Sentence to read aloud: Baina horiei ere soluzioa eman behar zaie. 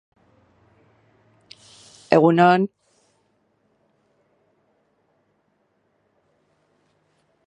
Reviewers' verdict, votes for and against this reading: rejected, 0, 2